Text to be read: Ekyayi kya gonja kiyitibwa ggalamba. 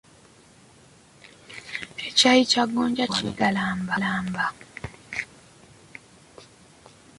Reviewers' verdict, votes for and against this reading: rejected, 1, 2